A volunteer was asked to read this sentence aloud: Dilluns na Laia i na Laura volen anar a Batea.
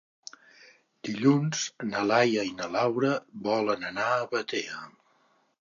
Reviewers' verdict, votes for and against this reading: accepted, 2, 0